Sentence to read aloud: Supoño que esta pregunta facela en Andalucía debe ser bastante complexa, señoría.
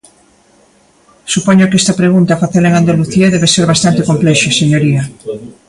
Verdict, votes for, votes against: rejected, 1, 2